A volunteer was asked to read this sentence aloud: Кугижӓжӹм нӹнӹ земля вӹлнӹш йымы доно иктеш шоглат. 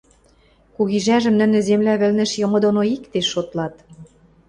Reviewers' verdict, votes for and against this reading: rejected, 0, 2